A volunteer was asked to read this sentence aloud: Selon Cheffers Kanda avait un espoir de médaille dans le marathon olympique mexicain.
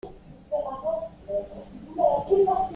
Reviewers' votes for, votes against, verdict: 0, 2, rejected